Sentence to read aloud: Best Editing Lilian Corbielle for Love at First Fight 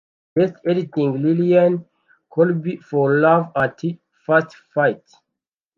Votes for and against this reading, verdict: 0, 2, rejected